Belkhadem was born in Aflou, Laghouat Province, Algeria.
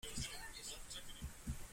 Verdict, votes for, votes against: rejected, 0, 2